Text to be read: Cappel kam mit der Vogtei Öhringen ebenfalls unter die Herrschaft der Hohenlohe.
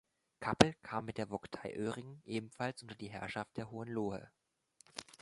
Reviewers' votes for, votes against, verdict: 0, 2, rejected